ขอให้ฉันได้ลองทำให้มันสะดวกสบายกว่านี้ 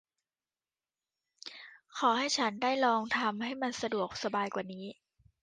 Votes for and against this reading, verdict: 2, 0, accepted